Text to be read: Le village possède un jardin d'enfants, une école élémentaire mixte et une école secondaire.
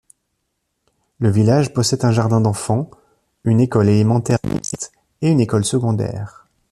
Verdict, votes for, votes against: rejected, 0, 2